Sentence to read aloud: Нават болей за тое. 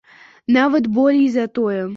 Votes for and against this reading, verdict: 2, 0, accepted